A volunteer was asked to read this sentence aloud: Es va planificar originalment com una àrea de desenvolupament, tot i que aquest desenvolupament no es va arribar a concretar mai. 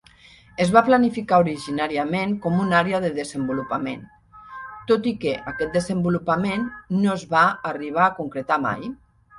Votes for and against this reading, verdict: 1, 2, rejected